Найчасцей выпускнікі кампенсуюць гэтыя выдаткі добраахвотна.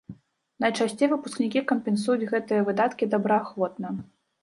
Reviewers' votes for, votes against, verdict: 2, 0, accepted